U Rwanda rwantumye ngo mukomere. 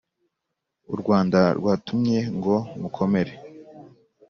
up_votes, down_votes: 0, 2